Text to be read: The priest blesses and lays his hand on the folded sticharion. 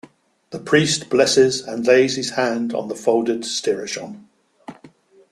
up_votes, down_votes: 0, 2